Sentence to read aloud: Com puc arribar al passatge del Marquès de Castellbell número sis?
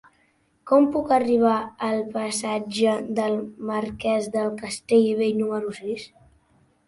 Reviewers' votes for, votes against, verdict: 2, 4, rejected